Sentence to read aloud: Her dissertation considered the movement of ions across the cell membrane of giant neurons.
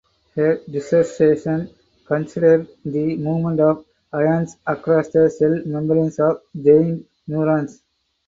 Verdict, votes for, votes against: rejected, 2, 2